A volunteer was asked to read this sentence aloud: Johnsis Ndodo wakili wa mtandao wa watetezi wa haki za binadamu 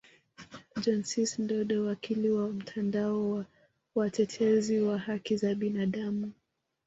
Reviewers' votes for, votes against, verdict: 2, 3, rejected